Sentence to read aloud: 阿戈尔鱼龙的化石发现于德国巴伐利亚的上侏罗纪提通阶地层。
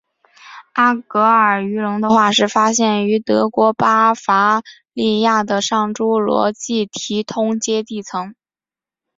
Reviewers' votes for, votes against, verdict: 2, 1, accepted